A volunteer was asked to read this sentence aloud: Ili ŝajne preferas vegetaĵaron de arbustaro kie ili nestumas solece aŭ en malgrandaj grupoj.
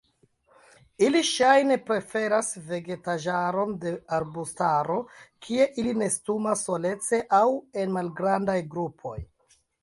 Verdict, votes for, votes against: accepted, 2, 1